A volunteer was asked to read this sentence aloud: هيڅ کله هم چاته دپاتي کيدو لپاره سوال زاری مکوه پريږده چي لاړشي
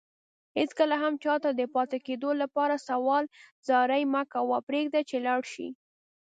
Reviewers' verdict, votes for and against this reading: accepted, 2, 0